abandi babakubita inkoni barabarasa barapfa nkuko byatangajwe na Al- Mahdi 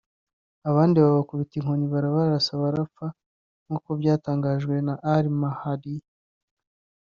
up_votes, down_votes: 1, 2